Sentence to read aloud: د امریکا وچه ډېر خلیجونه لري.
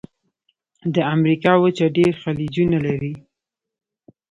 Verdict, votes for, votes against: accepted, 2, 0